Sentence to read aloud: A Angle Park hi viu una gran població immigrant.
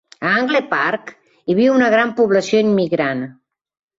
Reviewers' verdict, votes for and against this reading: accepted, 3, 0